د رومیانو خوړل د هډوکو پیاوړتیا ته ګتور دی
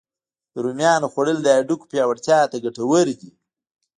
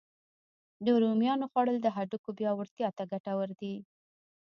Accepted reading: first